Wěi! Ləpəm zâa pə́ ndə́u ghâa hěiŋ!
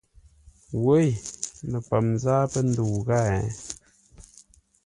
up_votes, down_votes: 2, 0